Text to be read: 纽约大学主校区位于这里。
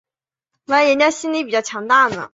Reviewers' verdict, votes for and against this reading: rejected, 1, 4